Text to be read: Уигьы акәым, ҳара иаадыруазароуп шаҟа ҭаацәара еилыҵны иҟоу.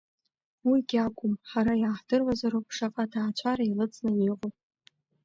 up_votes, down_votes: 0, 2